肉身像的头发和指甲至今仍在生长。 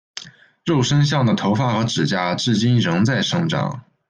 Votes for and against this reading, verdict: 2, 0, accepted